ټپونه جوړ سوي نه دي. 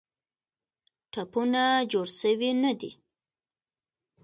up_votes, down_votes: 2, 1